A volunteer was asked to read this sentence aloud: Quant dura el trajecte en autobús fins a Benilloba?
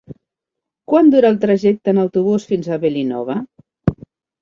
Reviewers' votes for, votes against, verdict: 0, 2, rejected